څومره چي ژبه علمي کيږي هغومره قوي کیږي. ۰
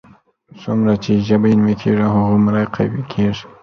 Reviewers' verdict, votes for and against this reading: rejected, 0, 2